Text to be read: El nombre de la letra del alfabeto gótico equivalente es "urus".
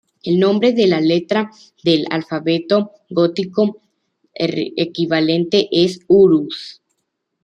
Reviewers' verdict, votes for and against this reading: rejected, 1, 2